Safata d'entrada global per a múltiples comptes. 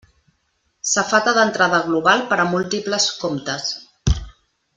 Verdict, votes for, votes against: accepted, 3, 0